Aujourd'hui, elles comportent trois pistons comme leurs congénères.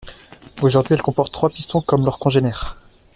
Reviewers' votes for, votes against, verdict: 1, 2, rejected